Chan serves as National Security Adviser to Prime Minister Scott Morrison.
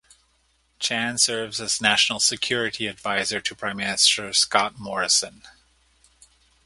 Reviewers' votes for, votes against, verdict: 2, 0, accepted